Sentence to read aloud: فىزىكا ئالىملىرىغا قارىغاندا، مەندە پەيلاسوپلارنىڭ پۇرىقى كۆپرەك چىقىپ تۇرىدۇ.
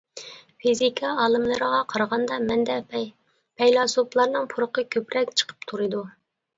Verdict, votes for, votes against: rejected, 0, 2